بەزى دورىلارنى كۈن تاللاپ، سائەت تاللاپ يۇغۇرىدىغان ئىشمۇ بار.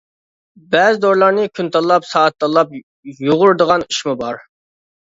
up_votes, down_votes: 2, 0